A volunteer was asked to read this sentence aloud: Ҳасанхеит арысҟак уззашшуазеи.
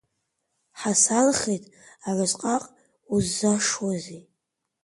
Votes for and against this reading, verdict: 2, 1, accepted